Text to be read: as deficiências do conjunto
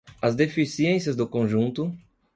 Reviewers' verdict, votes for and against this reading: accepted, 2, 0